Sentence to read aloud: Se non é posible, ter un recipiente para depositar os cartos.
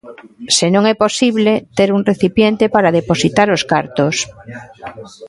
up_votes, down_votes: 2, 0